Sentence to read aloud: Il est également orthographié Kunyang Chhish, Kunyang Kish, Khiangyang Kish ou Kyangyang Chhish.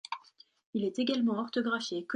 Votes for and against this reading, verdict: 0, 2, rejected